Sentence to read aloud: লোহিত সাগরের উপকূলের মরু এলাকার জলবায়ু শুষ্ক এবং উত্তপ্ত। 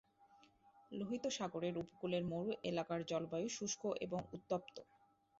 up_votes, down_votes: 8, 2